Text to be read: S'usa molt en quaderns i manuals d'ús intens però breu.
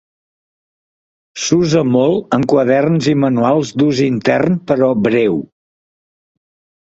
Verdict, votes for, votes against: rejected, 1, 2